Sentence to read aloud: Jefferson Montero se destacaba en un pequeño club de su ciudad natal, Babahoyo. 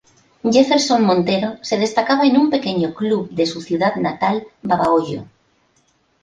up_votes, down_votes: 2, 0